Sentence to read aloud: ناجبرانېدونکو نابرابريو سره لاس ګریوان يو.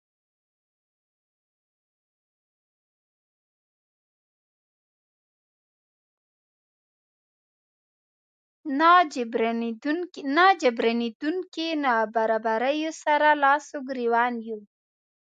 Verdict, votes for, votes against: rejected, 1, 2